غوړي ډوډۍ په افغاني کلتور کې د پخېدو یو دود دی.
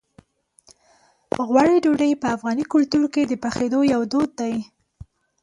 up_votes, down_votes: 2, 0